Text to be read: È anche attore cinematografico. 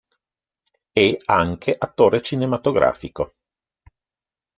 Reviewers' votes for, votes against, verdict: 0, 2, rejected